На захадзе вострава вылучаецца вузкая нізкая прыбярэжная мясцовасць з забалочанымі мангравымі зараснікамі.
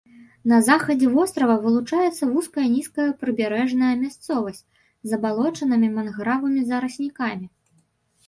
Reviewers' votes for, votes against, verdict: 0, 2, rejected